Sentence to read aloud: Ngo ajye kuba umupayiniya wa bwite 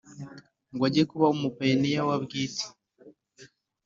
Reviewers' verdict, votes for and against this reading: accepted, 2, 0